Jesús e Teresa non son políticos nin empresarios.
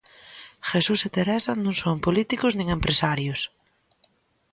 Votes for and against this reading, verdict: 2, 0, accepted